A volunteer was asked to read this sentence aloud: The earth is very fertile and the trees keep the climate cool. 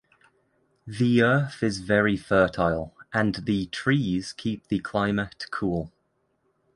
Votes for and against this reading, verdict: 2, 0, accepted